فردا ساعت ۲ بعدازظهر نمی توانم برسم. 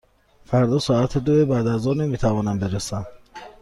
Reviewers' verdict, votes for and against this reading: rejected, 0, 2